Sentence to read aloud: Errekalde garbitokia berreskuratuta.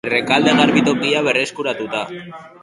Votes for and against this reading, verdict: 2, 2, rejected